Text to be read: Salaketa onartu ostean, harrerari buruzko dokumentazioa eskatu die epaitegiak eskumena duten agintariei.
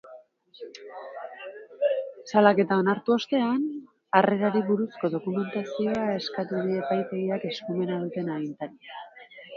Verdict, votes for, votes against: rejected, 1, 2